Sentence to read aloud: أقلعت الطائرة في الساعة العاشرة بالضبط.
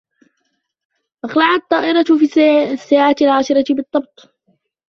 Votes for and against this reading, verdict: 1, 2, rejected